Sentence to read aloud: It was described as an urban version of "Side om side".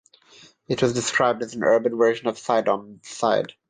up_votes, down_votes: 3, 3